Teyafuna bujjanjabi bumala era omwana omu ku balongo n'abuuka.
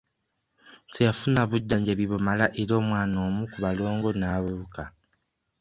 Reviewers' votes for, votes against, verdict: 2, 0, accepted